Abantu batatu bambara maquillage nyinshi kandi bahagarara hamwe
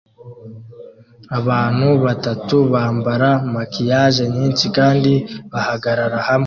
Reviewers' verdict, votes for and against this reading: accepted, 2, 0